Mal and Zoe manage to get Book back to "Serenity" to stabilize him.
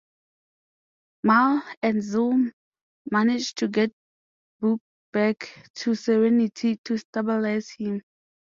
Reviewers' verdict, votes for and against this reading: accepted, 2, 0